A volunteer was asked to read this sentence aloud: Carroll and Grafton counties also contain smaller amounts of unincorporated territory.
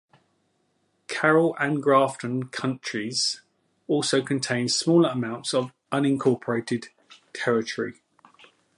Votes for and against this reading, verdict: 1, 2, rejected